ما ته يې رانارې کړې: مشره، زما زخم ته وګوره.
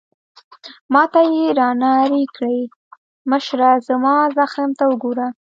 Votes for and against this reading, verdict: 1, 2, rejected